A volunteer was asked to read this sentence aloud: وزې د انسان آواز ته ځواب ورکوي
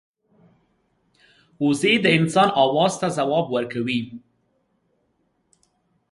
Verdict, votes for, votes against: accepted, 2, 0